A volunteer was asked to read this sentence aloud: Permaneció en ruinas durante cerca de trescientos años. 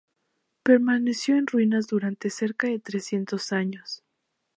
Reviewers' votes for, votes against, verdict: 2, 0, accepted